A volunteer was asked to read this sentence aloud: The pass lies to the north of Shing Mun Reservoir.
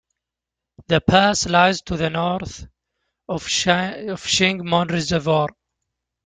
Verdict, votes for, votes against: rejected, 1, 2